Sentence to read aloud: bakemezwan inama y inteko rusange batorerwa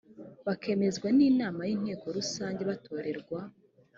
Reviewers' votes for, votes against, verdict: 2, 0, accepted